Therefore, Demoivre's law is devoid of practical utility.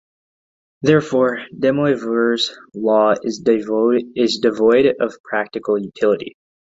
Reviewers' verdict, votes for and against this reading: rejected, 0, 3